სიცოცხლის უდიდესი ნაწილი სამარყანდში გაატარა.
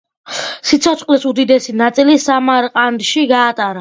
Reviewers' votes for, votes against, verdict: 2, 0, accepted